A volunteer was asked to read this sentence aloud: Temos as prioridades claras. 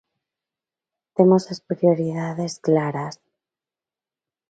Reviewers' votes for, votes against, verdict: 2, 0, accepted